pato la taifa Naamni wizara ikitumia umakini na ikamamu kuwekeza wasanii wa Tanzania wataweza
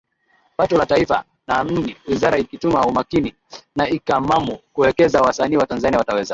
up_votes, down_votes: 7, 3